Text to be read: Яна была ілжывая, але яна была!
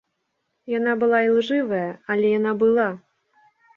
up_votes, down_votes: 2, 0